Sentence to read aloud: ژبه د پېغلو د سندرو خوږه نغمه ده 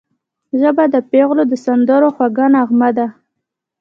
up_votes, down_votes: 2, 0